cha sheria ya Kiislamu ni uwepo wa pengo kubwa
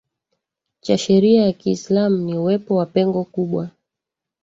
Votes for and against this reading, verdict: 2, 1, accepted